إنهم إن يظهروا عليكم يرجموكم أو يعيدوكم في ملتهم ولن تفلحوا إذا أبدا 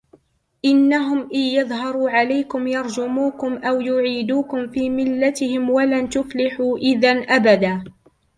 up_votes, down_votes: 2, 1